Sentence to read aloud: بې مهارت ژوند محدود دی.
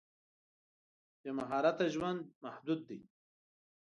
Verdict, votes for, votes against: accepted, 2, 0